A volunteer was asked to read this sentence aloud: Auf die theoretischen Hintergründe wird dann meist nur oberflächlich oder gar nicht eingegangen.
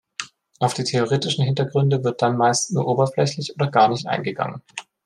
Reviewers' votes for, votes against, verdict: 2, 0, accepted